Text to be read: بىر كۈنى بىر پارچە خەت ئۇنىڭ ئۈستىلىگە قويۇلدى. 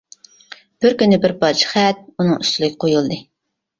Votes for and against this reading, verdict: 2, 0, accepted